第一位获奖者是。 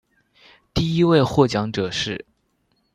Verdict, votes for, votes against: accepted, 2, 1